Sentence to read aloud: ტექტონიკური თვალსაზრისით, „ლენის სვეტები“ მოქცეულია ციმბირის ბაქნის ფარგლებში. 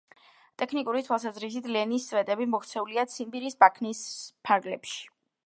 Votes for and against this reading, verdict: 0, 2, rejected